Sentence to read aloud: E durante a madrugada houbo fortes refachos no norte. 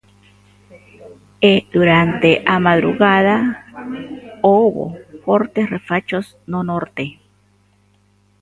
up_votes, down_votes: 1, 2